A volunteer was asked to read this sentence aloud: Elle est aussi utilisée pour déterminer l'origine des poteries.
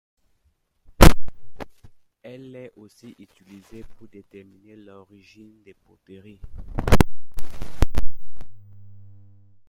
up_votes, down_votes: 1, 2